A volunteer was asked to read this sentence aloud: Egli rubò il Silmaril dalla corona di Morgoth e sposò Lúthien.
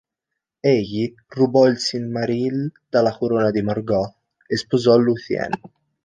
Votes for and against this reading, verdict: 2, 0, accepted